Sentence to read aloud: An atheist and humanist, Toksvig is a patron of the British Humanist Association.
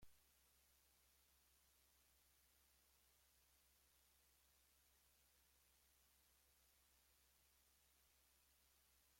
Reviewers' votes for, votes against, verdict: 0, 2, rejected